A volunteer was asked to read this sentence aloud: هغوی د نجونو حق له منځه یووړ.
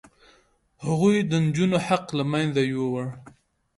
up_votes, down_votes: 2, 0